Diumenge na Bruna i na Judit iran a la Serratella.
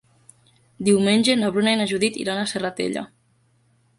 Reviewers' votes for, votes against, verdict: 0, 2, rejected